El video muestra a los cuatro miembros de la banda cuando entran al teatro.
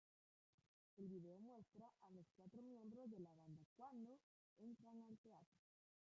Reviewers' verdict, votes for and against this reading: rejected, 1, 2